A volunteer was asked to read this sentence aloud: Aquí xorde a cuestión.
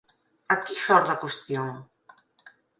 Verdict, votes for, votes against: rejected, 2, 4